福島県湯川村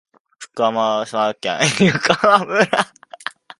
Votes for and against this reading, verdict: 10, 10, rejected